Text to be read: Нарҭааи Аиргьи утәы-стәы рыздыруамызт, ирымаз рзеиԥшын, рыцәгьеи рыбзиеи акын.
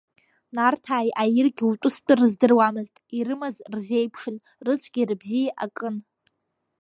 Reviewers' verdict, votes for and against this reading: rejected, 1, 2